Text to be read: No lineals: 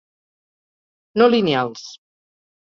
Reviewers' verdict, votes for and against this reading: accepted, 4, 0